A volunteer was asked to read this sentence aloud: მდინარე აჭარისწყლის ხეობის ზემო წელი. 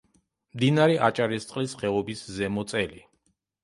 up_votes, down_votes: 2, 0